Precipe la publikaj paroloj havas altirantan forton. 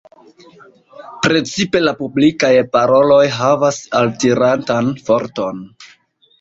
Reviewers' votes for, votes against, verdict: 1, 2, rejected